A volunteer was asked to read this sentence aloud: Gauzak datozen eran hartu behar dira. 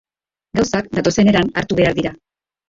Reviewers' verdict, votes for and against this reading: rejected, 0, 2